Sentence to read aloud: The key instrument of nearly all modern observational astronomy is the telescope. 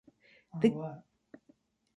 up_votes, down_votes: 0, 2